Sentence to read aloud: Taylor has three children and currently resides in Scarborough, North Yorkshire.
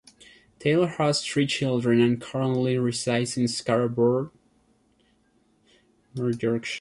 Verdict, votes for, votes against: rejected, 0, 2